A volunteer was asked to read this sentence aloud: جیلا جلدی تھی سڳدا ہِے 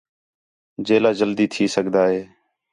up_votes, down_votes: 4, 0